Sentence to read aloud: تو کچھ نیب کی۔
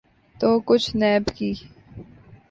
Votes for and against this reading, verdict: 3, 0, accepted